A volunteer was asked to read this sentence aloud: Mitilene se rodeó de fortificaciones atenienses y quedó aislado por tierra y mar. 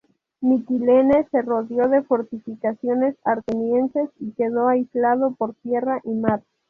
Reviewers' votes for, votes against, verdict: 0, 2, rejected